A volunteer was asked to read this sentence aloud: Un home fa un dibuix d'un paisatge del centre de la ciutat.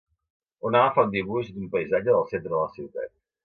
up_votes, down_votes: 1, 2